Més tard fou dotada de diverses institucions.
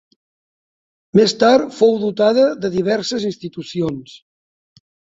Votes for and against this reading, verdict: 3, 0, accepted